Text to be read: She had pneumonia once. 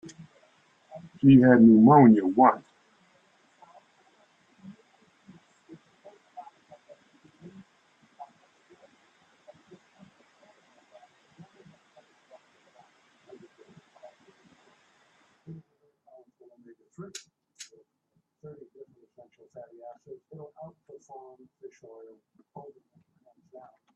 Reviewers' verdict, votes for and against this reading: rejected, 0, 2